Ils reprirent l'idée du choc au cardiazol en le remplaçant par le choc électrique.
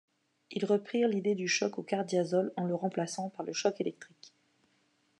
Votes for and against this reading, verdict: 2, 0, accepted